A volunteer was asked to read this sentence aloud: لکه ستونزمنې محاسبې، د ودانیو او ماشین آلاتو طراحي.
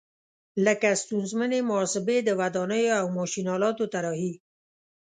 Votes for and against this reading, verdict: 3, 0, accepted